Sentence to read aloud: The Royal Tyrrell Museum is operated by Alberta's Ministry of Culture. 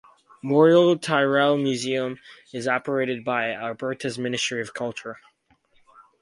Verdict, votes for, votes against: rejected, 2, 2